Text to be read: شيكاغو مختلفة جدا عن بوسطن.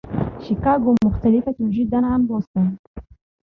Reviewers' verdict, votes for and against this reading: accepted, 2, 0